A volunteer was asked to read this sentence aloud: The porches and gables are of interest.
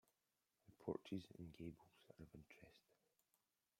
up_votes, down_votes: 0, 2